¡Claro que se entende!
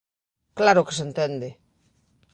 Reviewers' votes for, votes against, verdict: 2, 0, accepted